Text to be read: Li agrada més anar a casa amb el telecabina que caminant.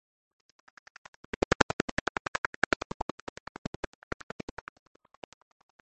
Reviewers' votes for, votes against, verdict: 0, 2, rejected